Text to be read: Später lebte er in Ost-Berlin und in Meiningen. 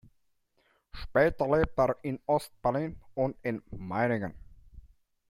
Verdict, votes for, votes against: accepted, 2, 0